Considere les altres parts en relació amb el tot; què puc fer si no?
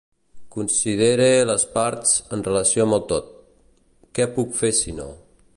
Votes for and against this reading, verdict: 0, 3, rejected